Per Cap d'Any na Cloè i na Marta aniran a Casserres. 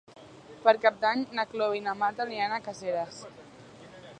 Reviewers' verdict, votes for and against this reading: rejected, 0, 2